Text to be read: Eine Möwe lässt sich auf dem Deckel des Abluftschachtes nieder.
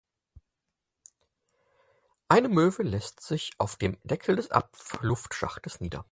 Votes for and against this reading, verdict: 2, 4, rejected